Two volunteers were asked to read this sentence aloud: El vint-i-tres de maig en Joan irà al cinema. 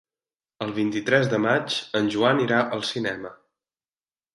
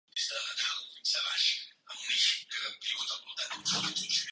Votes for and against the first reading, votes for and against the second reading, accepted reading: 3, 0, 0, 3, first